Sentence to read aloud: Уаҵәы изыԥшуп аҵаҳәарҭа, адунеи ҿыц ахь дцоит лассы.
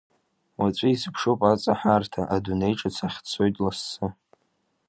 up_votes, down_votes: 2, 0